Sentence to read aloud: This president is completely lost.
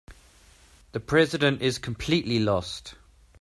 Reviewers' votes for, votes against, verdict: 0, 2, rejected